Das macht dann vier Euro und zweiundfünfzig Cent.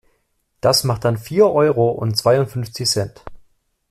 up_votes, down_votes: 2, 0